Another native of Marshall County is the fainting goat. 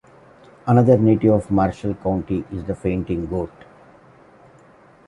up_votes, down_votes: 2, 0